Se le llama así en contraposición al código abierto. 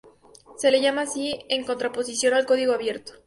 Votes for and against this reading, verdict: 4, 0, accepted